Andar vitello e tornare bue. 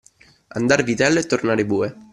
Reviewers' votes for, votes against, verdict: 2, 1, accepted